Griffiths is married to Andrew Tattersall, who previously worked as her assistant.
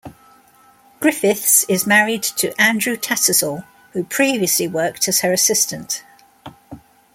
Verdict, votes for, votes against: accepted, 2, 0